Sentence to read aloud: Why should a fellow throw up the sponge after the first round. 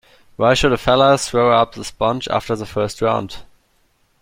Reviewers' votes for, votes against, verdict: 2, 0, accepted